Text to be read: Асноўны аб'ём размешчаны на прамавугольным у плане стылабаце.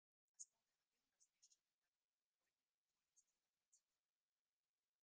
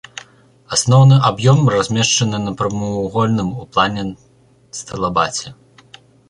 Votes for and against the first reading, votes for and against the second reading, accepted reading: 0, 2, 2, 0, second